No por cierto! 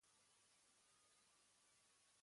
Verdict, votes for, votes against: rejected, 1, 2